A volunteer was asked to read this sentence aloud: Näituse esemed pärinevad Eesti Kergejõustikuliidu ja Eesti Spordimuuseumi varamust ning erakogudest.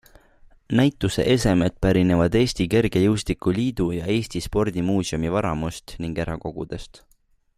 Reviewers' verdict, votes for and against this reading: accepted, 2, 0